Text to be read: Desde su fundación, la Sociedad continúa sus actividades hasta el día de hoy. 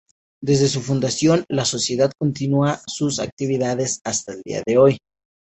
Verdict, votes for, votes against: rejected, 0, 2